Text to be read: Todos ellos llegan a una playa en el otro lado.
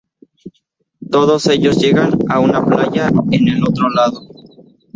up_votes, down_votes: 4, 0